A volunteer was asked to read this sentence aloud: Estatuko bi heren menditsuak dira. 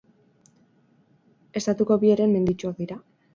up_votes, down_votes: 6, 0